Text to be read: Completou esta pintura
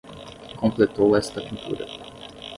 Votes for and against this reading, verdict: 10, 0, accepted